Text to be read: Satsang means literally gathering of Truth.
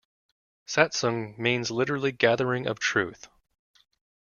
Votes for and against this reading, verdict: 3, 0, accepted